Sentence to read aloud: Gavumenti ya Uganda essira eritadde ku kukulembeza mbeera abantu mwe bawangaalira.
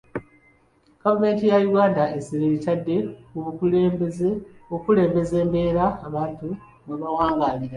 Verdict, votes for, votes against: accepted, 2, 0